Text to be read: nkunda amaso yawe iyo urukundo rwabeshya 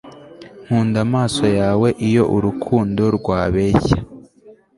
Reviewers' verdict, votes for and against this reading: accepted, 2, 0